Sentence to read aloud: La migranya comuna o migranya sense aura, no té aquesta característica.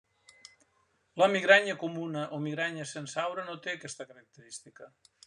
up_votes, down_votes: 0, 2